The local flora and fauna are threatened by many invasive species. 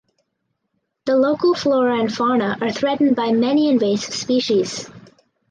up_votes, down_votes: 2, 0